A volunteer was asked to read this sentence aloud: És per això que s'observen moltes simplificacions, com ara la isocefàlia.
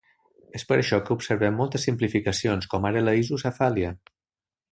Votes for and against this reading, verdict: 2, 3, rejected